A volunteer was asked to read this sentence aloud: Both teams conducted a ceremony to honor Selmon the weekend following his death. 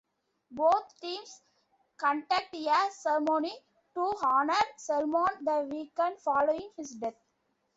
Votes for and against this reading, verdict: 0, 2, rejected